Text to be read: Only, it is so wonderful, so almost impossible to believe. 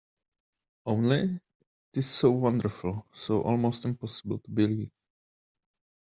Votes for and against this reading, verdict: 1, 2, rejected